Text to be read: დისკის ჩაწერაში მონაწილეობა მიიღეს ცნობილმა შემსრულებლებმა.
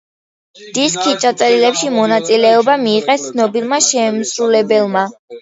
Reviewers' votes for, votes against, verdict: 1, 2, rejected